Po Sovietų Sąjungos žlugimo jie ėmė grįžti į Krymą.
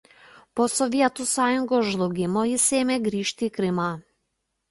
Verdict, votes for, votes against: rejected, 0, 2